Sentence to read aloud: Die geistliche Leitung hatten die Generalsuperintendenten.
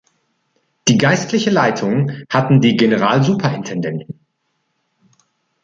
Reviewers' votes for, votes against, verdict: 2, 0, accepted